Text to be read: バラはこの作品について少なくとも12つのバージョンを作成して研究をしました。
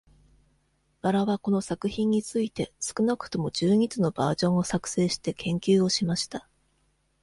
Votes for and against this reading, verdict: 0, 2, rejected